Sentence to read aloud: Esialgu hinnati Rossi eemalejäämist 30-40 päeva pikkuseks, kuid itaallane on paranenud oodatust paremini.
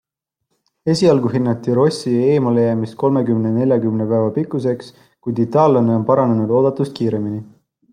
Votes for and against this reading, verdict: 0, 2, rejected